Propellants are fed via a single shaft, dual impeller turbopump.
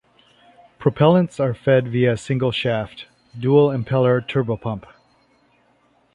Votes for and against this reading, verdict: 2, 0, accepted